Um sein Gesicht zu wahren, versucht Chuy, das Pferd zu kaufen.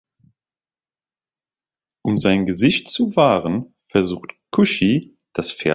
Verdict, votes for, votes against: rejected, 0, 2